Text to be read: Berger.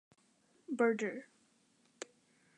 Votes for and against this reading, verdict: 2, 0, accepted